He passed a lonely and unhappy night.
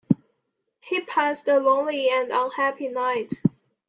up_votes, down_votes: 2, 1